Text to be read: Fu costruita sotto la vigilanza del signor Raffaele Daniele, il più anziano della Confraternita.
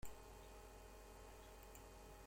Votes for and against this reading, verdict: 0, 2, rejected